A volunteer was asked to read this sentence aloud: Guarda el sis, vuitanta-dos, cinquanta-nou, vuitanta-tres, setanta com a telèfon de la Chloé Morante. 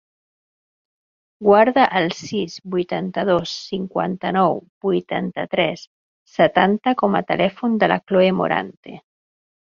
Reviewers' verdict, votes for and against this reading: accepted, 3, 0